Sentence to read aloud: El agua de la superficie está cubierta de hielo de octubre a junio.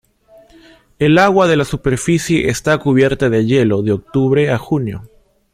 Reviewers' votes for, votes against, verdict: 2, 0, accepted